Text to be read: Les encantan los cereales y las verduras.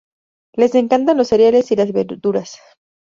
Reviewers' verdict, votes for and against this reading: accepted, 2, 0